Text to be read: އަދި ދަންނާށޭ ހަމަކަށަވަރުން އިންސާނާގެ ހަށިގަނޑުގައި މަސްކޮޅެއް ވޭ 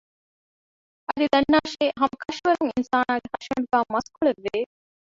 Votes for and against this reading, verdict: 0, 2, rejected